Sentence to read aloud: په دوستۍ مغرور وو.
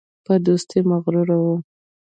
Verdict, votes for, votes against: rejected, 1, 2